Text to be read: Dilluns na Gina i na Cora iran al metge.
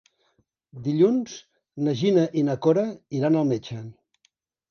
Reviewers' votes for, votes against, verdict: 3, 0, accepted